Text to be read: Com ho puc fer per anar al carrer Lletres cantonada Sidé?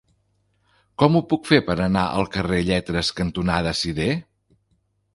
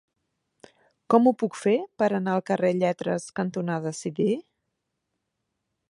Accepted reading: first